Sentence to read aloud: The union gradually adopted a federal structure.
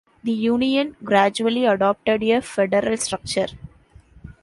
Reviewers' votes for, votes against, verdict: 0, 2, rejected